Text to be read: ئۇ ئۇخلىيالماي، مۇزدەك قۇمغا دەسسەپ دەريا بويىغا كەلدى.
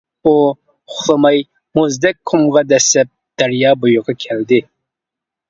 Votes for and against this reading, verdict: 0, 2, rejected